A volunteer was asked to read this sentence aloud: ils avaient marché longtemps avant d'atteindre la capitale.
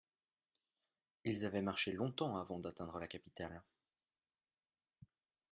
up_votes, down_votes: 2, 0